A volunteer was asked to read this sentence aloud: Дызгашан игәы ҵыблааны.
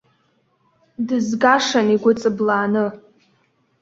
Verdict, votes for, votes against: accepted, 2, 0